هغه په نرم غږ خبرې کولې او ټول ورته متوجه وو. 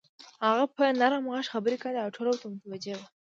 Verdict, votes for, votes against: accepted, 2, 0